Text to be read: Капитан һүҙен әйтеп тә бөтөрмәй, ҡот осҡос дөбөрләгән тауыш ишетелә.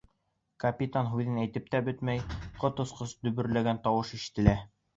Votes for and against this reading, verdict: 2, 0, accepted